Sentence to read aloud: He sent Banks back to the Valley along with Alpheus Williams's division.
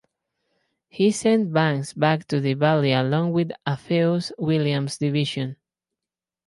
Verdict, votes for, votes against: accepted, 4, 0